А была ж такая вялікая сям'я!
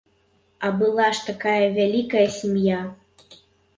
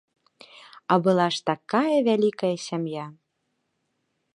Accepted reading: second